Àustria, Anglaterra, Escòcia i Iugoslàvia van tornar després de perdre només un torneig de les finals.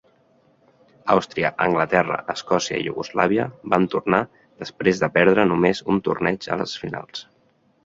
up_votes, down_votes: 1, 2